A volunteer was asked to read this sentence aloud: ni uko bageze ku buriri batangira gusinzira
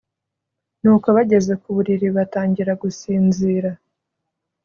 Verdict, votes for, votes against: accepted, 2, 0